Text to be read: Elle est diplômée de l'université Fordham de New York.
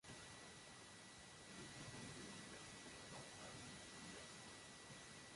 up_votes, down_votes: 0, 3